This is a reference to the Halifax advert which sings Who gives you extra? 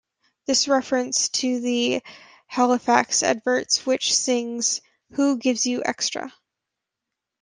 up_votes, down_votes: 0, 2